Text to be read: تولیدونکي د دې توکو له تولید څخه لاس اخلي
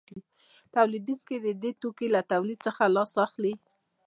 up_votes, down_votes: 0, 2